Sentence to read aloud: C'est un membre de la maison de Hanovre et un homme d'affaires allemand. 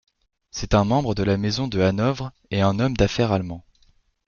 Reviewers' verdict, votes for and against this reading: accepted, 2, 0